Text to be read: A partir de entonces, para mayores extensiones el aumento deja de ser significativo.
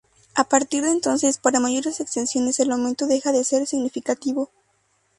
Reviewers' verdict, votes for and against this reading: accepted, 2, 0